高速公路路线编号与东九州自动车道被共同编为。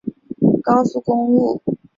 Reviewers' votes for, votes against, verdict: 1, 3, rejected